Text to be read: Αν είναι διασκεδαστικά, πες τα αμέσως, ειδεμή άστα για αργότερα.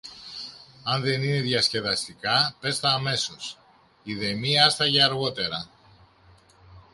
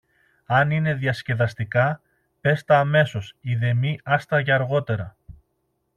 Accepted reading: second